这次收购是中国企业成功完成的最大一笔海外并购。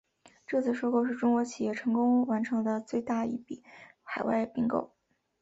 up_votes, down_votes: 3, 0